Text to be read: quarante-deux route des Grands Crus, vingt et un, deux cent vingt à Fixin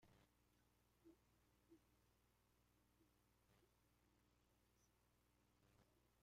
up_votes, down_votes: 0, 2